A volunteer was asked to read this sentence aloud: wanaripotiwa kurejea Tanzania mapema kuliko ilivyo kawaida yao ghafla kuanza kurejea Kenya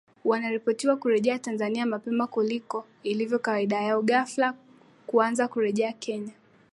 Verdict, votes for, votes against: accepted, 2, 0